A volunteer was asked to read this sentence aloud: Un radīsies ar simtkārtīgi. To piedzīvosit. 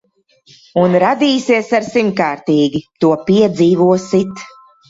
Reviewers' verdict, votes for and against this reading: rejected, 1, 2